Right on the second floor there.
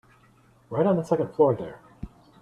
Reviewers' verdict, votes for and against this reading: accepted, 3, 0